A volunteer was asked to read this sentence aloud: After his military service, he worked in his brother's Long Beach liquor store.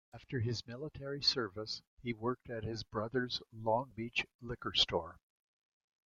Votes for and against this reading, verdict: 1, 2, rejected